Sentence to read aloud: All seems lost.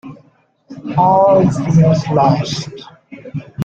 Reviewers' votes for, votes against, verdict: 1, 2, rejected